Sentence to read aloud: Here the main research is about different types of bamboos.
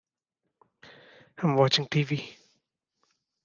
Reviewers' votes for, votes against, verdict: 0, 2, rejected